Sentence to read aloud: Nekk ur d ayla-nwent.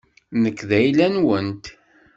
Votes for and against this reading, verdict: 1, 2, rejected